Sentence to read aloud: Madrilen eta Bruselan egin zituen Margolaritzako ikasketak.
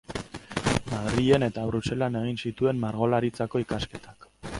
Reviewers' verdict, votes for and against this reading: rejected, 0, 2